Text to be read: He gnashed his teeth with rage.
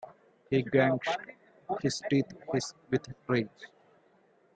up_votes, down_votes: 1, 2